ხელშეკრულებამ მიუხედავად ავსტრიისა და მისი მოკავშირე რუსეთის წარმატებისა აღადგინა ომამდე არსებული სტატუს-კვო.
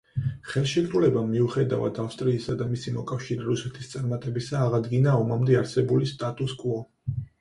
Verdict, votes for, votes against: accepted, 4, 0